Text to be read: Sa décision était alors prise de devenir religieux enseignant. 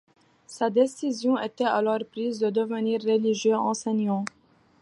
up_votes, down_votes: 2, 0